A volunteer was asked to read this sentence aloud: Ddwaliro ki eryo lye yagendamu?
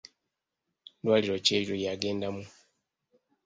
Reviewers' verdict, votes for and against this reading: rejected, 0, 2